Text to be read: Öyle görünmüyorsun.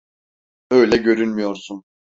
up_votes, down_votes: 2, 0